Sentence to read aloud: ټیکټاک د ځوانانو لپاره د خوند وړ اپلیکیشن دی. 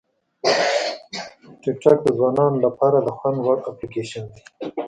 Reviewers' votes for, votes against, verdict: 1, 2, rejected